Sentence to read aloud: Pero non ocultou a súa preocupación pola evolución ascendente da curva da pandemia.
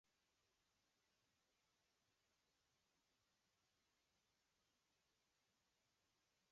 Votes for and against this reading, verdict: 0, 2, rejected